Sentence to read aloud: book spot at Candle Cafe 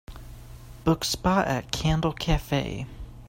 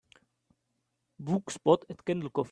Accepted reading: first